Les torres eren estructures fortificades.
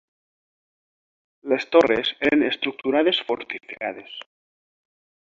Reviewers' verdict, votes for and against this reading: rejected, 2, 3